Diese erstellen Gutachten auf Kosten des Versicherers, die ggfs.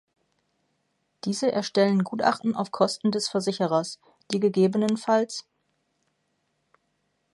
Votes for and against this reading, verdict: 1, 2, rejected